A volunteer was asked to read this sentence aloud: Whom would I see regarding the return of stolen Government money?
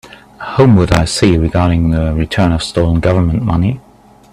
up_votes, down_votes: 4, 0